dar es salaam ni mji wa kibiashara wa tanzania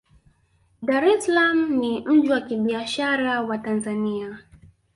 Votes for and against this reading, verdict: 0, 2, rejected